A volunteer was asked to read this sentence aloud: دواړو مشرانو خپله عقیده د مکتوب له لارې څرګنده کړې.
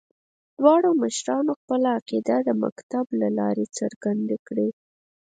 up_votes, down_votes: 2, 4